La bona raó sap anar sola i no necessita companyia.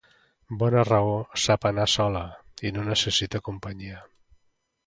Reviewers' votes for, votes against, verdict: 0, 2, rejected